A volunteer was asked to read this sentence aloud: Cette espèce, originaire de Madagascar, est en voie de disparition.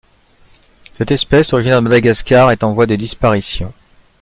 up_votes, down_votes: 2, 0